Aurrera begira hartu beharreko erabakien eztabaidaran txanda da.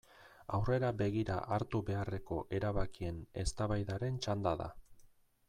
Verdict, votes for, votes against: accepted, 2, 0